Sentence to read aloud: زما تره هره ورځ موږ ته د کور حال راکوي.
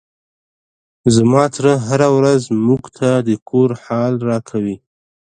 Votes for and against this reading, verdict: 1, 2, rejected